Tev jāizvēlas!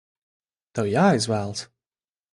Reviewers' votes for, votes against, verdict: 2, 0, accepted